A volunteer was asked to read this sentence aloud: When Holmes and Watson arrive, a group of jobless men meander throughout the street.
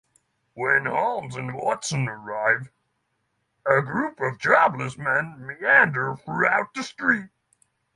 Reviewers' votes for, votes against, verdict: 6, 0, accepted